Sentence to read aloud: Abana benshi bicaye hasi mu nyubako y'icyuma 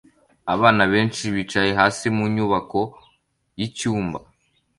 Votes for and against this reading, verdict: 2, 0, accepted